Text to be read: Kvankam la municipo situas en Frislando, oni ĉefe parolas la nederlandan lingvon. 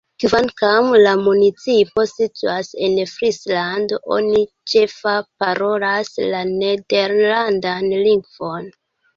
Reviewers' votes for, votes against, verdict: 0, 2, rejected